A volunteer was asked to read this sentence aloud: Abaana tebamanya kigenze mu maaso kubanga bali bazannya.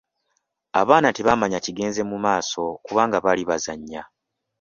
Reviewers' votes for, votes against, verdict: 2, 0, accepted